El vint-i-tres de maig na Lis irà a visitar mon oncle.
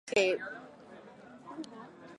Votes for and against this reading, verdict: 0, 4, rejected